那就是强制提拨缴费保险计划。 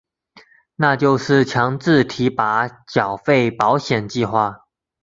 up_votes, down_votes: 2, 1